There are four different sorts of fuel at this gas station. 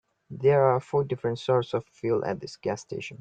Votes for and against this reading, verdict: 2, 0, accepted